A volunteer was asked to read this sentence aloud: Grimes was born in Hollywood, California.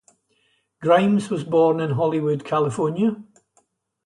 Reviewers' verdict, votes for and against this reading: accepted, 2, 0